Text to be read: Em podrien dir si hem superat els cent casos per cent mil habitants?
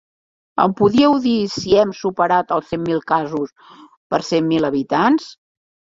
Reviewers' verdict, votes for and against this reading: rejected, 0, 2